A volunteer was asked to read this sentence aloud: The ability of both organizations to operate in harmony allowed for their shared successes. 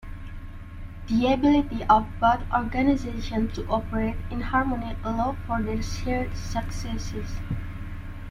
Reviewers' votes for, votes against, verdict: 2, 0, accepted